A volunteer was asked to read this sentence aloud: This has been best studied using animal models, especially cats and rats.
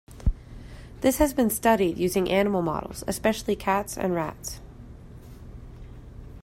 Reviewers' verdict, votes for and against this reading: rejected, 1, 2